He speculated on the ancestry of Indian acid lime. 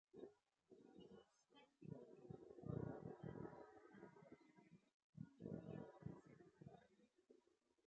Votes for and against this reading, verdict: 0, 3, rejected